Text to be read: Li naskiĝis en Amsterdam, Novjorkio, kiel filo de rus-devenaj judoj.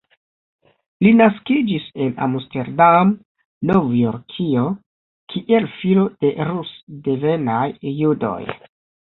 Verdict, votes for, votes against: accepted, 4, 0